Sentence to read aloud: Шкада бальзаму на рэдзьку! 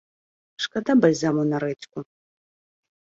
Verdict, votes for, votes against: accepted, 2, 0